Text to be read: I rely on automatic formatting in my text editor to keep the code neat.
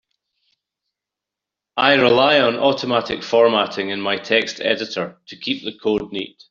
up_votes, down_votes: 2, 0